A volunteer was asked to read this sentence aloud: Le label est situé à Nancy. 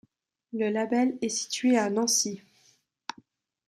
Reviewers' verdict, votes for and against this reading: accepted, 2, 0